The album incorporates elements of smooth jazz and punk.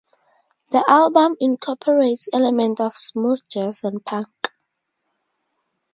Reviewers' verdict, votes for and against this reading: rejected, 2, 4